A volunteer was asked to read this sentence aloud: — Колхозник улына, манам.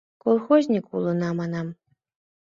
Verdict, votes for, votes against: accepted, 2, 0